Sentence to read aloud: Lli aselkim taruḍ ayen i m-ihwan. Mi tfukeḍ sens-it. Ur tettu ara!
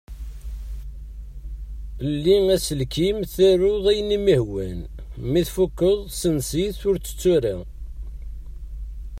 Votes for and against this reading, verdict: 2, 0, accepted